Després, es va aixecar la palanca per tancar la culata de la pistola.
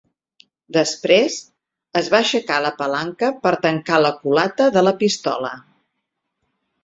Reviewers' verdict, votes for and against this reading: accepted, 6, 0